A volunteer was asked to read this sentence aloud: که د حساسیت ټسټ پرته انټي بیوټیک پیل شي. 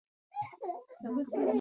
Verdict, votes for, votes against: rejected, 0, 2